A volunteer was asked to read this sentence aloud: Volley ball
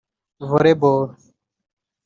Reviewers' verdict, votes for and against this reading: rejected, 1, 2